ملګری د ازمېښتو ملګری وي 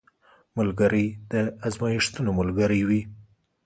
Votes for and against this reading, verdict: 2, 0, accepted